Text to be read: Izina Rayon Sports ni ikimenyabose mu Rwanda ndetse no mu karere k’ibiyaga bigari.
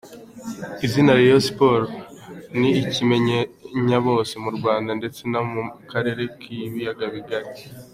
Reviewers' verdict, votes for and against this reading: rejected, 1, 3